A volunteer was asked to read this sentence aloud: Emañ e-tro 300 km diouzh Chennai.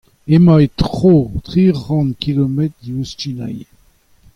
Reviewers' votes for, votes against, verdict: 0, 2, rejected